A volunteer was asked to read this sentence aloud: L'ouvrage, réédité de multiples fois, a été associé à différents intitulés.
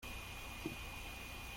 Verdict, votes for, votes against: rejected, 0, 2